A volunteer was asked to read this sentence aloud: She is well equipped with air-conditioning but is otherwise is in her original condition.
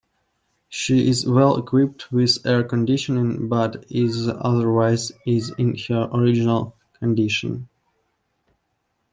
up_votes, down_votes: 0, 2